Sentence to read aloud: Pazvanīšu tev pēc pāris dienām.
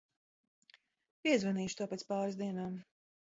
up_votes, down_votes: 1, 2